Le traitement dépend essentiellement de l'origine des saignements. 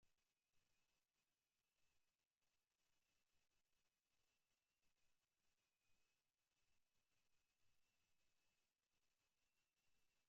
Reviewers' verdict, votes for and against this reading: rejected, 0, 2